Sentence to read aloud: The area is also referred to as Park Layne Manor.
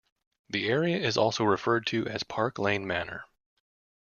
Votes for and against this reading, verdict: 2, 0, accepted